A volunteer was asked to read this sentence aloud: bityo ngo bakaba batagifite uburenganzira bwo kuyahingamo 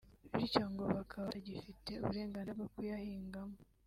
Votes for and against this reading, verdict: 2, 1, accepted